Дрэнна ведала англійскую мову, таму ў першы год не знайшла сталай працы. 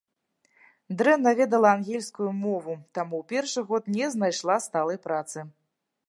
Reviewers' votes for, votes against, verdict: 0, 2, rejected